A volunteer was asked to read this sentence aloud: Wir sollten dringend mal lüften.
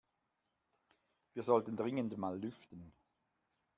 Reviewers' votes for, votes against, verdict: 2, 0, accepted